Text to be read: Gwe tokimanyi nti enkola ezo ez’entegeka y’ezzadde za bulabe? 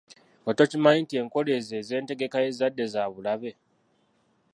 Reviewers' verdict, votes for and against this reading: rejected, 0, 2